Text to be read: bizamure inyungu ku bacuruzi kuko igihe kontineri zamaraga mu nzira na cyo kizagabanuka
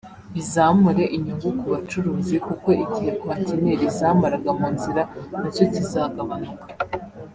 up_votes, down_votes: 2, 1